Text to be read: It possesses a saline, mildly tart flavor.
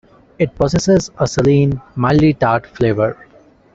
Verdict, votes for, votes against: accepted, 2, 0